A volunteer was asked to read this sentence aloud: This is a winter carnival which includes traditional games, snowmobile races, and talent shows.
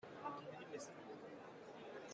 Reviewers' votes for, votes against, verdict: 0, 3, rejected